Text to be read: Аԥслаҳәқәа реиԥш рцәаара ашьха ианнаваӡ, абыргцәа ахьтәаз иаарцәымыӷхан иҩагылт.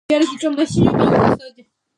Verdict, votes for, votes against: rejected, 0, 2